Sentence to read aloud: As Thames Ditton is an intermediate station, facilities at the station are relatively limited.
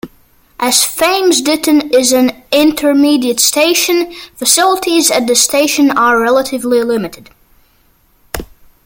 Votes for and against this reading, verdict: 2, 1, accepted